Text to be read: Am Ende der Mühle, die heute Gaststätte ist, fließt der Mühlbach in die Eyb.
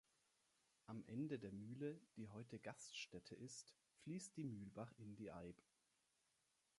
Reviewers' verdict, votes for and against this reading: accepted, 4, 3